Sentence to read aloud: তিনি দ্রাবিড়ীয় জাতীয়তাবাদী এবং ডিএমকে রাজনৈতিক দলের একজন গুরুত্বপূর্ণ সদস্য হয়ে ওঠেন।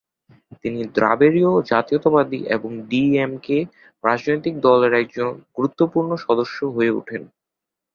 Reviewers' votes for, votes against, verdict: 2, 0, accepted